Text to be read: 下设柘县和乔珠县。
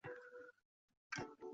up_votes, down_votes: 0, 4